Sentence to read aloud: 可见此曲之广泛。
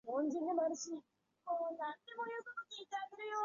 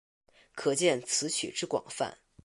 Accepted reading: second